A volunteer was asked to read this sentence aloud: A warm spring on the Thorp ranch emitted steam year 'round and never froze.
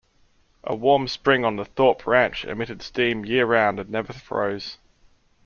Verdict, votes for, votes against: rejected, 0, 2